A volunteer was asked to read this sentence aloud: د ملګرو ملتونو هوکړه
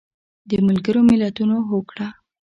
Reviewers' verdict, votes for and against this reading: accepted, 2, 1